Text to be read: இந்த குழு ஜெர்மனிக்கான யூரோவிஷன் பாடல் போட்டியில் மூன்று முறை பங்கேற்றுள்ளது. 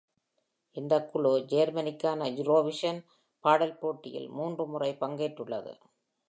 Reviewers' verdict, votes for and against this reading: accepted, 2, 0